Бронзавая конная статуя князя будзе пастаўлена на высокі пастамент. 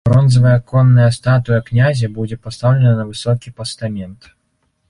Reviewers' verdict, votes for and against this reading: accepted, 2, 0